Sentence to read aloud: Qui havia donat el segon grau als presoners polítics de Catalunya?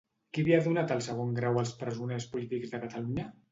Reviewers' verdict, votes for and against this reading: rejected, 0, 2